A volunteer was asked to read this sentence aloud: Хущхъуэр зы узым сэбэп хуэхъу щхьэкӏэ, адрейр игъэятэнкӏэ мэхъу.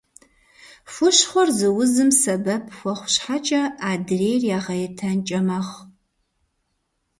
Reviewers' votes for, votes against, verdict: 2, 0, accepted